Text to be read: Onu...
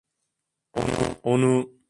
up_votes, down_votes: 1, 2